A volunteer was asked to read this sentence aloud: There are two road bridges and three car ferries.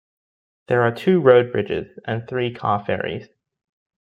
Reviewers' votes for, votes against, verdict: 2, 0, accepted